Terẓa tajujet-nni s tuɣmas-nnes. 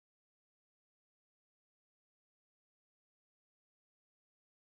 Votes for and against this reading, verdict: 0, 2, rejected